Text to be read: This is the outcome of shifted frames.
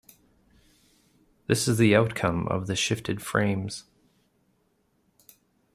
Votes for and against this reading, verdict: 1, 2, rejected